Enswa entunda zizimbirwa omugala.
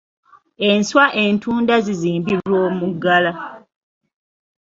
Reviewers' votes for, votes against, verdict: 0, 2, rejected